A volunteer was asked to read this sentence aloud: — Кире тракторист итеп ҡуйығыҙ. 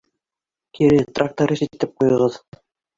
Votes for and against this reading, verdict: 2, 1, accepted